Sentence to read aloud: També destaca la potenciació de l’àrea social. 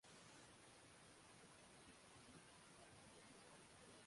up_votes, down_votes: 1, 3